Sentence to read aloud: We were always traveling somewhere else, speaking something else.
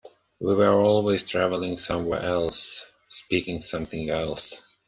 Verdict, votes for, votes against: accepted, 2, 1